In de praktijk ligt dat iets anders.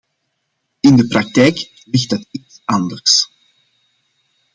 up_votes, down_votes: 0, 2